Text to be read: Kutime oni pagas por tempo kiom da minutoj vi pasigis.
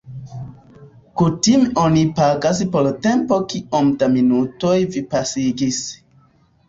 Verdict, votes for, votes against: rejected, 1, 2